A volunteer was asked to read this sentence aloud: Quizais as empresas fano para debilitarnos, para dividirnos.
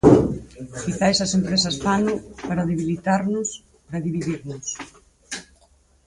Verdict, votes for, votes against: rejected, 2, 4